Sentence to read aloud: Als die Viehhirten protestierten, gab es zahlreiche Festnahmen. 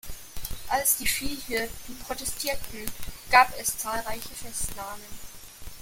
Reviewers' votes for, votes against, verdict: 2, 0, accepted